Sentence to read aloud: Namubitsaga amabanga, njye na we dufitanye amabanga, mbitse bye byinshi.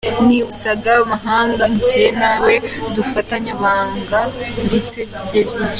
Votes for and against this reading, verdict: 0, 2, rejected